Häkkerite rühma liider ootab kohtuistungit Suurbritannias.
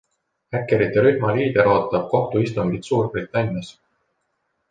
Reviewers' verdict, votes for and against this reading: accepted, 2, 0